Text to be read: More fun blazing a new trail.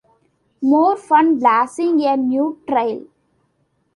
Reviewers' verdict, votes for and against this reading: rejected, 0, 2